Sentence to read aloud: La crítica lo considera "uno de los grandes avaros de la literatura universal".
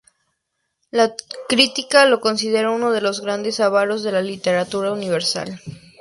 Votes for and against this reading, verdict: 0, 2, rejected